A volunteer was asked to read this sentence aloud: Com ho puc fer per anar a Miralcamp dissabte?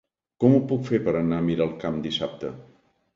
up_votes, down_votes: 2, 0